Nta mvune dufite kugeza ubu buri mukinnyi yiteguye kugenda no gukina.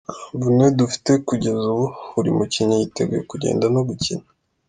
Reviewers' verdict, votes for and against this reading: accepted, 2, 0